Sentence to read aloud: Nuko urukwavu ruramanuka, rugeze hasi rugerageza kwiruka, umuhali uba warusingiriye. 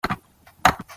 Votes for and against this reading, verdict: 1, 3, rejected